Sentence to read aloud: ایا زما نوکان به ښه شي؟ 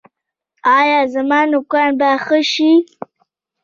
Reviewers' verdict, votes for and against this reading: accepted, 2, 0